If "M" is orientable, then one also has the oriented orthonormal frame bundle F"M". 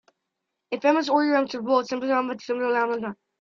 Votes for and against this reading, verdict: 0, 2, rejected